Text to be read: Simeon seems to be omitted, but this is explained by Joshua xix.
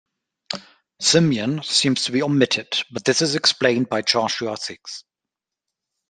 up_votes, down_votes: 0, 2